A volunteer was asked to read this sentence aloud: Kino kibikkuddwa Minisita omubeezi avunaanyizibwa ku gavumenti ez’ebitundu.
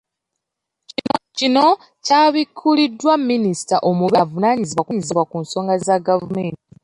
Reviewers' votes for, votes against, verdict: 0, 2, rejected